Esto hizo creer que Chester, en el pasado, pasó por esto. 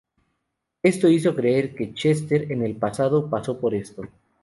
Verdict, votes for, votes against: accepted, 2, 0